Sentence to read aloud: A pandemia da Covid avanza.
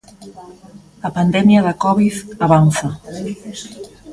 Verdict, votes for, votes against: rejected, 0, 2